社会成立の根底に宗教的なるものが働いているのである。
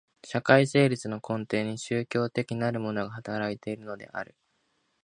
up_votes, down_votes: 2, 1